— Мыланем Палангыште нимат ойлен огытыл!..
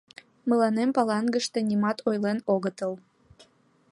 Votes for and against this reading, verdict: 2, 0, accepted